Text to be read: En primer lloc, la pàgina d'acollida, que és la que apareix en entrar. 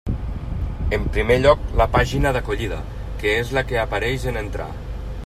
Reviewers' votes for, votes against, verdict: 3, 0, accepted